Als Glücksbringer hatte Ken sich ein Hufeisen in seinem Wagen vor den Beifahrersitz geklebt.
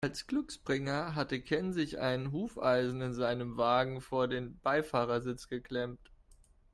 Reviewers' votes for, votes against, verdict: 0, 2, rejected